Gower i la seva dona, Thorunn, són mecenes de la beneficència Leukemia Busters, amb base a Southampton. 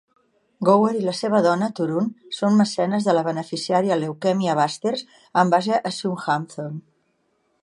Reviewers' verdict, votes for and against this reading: rejected, 1, 2